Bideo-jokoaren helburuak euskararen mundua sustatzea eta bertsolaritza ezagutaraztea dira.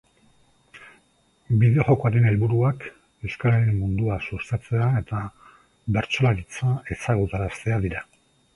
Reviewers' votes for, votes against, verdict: 2, 0, accepted